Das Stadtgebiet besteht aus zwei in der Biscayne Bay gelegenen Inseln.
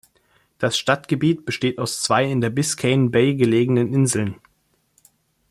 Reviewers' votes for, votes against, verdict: 2, 0, accepted